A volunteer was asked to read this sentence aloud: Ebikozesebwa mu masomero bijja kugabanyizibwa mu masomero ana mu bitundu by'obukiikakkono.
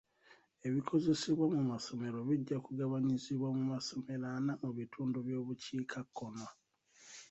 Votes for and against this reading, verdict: 2, 1, accepted